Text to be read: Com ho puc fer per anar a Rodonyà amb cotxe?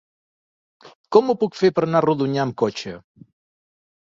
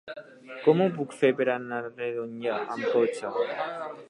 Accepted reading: first